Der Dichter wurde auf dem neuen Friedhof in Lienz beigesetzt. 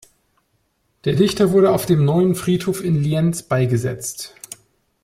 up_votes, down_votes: 2, 0